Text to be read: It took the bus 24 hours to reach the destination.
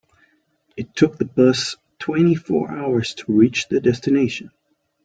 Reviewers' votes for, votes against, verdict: 0, 2, rejected